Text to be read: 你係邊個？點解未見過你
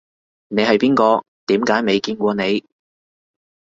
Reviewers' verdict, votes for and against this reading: accepted, 2, 0